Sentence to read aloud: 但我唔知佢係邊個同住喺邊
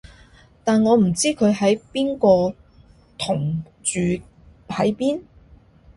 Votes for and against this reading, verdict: 0, 2, rejected